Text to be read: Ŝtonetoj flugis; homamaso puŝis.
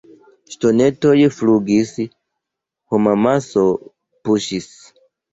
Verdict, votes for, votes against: accepted, 2, 0